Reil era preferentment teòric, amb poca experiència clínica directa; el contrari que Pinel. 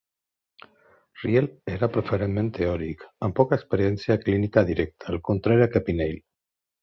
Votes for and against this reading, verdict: 1, 3, rejected